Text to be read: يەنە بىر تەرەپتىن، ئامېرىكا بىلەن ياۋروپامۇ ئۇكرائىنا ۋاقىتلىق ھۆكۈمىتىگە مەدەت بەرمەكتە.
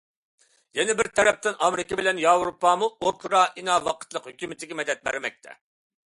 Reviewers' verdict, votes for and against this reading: accepted, 2, 0